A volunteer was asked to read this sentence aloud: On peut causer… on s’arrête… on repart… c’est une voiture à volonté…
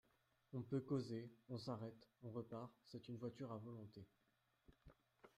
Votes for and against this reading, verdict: 1, 2, rejected